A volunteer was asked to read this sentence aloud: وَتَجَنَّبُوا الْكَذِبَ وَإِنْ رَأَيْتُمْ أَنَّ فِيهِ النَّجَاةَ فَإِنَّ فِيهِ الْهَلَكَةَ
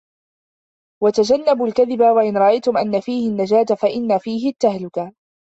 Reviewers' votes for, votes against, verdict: 1, 2, rejected